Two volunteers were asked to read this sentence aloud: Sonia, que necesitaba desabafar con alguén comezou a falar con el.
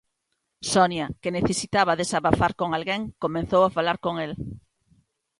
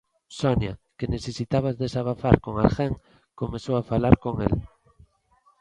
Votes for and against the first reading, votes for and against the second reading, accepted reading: 0, 2, 2, 1, second